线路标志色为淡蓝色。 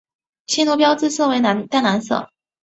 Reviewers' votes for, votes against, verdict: 0, 2, rejected